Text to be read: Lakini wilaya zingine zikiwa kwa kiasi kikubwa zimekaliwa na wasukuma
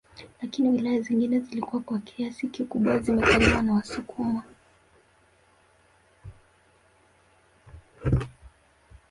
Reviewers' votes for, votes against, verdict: 1, 3, rejected